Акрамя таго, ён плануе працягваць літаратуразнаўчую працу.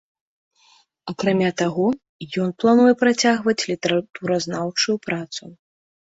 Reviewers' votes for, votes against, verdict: 2, 0, accepted